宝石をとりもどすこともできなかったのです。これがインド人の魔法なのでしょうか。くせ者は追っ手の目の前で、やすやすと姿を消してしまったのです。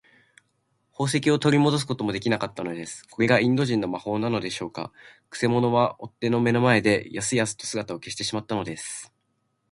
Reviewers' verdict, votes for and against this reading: accepted, 2, 0